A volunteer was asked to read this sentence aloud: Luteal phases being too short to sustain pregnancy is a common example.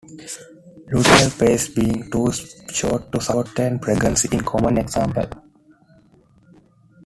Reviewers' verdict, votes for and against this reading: rejected, 0, 2